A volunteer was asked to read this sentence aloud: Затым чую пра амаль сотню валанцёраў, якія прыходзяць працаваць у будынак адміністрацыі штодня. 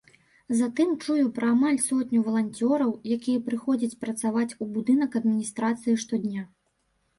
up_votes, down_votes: 2, 0